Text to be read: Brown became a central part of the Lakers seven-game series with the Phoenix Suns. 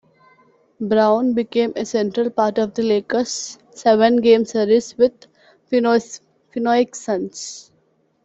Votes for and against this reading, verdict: 1, 2, rejected